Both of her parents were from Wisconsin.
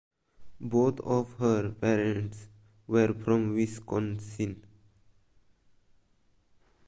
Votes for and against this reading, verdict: 0, 2, rejected